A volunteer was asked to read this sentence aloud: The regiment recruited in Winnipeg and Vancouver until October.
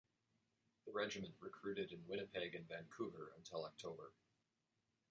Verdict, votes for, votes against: rejected, 1, 2